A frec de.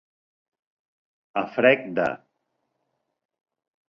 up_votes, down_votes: 4, 0